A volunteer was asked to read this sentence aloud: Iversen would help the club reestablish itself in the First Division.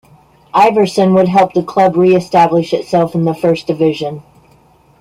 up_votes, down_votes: 2, 1